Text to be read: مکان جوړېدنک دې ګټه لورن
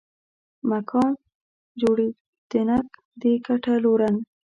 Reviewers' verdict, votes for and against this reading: rejected, 0, 2